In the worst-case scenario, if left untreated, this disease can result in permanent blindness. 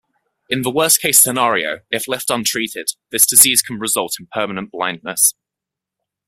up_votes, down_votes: 2, 0